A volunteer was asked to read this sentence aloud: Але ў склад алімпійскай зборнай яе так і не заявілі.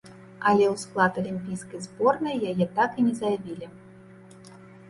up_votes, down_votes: 2, 1